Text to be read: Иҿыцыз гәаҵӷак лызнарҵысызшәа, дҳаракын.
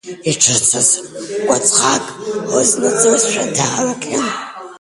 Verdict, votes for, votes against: rejected, 0, 2